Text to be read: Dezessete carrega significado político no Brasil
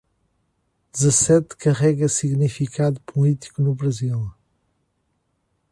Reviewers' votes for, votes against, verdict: 1, 2, rejected